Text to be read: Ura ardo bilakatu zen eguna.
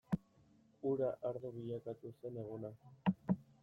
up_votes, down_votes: 2, 0